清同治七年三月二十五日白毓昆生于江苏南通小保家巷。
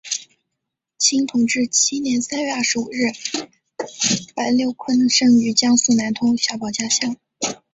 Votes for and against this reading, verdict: 1, 2, rejected